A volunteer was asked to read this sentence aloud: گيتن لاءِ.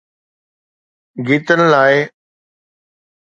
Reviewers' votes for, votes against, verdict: 2, 0, accepted